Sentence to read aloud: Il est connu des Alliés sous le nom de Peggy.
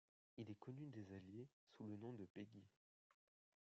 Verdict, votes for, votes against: accepted, 2, 0